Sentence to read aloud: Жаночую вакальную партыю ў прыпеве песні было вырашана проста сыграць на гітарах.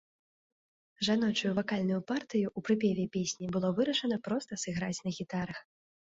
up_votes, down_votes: 2, 0